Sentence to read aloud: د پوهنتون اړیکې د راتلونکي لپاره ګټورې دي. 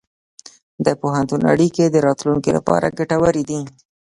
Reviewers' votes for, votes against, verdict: 2, 1, accepted